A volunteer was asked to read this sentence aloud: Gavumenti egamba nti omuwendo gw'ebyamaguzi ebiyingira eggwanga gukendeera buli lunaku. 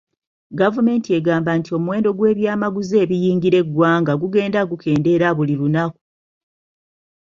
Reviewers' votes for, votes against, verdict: 1, 2, rejected